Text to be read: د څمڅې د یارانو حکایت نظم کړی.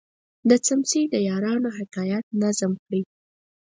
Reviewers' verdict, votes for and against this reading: rejected, 0, 4